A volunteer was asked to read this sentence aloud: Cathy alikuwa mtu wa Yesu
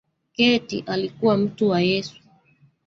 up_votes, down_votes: 1, 2